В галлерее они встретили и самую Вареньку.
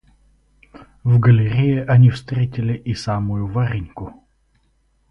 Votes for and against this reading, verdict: 2, 2, rejected